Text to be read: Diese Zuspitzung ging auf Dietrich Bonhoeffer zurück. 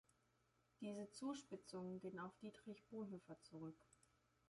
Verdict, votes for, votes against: accepted, 2, 0